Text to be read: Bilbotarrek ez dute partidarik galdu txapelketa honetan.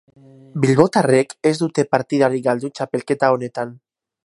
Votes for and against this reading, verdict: 2, 2, rejected